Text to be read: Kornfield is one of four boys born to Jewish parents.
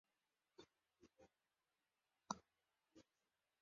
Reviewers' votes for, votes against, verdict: 0, 2, rejected